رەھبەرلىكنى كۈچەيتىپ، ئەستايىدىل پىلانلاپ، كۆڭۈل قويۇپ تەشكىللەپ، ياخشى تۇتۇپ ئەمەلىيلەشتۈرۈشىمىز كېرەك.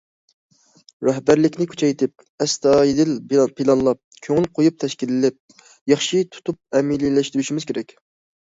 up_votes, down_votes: 0, 2